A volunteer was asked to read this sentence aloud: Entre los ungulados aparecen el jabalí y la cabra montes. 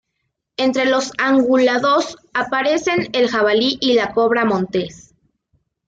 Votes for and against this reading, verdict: 0, 2, rejected